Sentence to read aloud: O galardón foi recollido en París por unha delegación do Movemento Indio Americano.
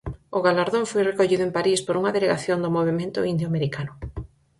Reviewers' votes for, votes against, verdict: 4, 0, accepted